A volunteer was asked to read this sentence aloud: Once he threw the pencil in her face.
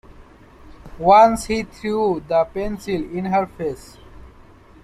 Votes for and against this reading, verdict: 2, 1, accepted